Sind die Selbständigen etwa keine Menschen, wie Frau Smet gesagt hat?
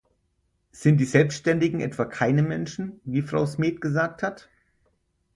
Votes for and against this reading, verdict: 4, 2, accepted